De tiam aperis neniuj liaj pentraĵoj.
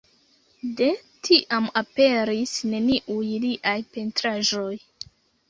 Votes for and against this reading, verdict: 2, 1, accepted